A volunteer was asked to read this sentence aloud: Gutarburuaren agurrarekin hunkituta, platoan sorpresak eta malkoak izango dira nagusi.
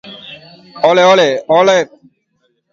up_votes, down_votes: 0, 2